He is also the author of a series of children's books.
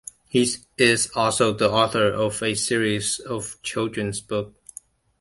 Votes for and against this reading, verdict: 1, 2, rejected